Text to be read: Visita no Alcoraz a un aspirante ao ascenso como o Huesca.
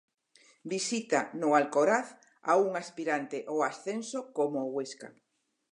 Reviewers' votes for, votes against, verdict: 4, 0, accepted